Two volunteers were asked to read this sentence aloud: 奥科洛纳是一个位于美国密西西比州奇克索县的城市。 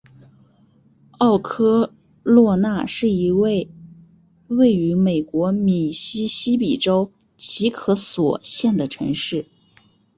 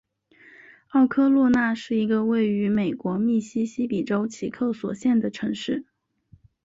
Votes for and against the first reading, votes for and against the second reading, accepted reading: 1, 2, 5, 0, second